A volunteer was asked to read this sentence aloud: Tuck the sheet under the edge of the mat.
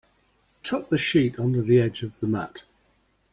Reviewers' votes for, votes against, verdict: 1, 2, rejected